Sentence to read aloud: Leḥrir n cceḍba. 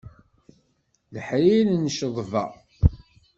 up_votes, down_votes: 2, 0